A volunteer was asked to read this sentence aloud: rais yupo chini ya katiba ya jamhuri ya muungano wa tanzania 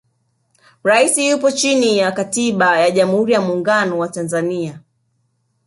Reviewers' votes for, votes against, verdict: 1, 2, rejected